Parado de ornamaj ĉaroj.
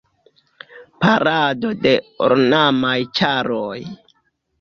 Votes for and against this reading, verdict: 1, 2, rejected